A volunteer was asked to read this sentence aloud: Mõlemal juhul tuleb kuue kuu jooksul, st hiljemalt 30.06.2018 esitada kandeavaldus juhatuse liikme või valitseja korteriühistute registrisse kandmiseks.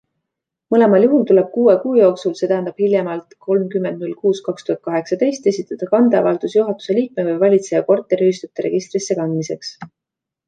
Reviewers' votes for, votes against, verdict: 0, 2, rejected